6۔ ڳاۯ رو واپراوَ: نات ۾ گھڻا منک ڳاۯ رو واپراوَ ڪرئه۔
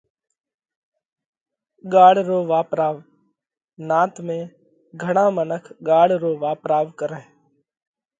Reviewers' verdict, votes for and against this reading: rejected, 0, 2